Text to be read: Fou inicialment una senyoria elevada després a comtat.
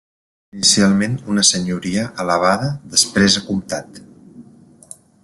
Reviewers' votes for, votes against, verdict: 0, 2, rejected